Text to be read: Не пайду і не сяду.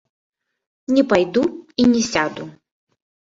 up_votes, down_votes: 0, 2